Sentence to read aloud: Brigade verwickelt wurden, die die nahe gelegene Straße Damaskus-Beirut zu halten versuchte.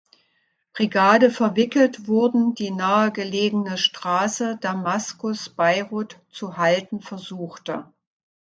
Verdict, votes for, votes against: rejected, 1, 2